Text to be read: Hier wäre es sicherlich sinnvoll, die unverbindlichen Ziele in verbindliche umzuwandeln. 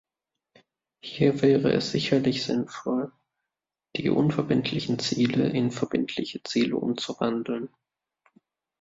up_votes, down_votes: 1, 2